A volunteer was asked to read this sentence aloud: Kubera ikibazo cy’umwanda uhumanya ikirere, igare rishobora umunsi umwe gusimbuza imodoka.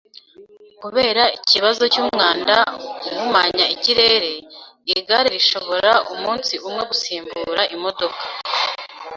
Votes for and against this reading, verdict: 1, 2, rejected